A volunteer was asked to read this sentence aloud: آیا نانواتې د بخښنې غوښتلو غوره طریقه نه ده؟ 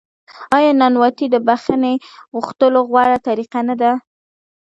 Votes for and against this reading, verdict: 2, 0, accepted